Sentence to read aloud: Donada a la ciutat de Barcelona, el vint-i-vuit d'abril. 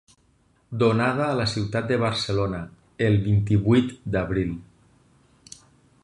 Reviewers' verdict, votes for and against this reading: accepted, 6, 0